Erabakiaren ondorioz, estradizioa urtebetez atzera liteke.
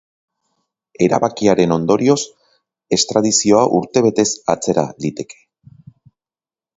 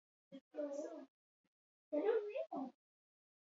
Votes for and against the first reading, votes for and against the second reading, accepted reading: 5, 0, 0, 8, first